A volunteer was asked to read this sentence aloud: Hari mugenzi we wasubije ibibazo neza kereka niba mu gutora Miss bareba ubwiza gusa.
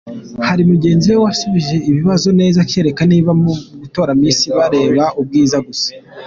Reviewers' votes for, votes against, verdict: 2, 0, accepted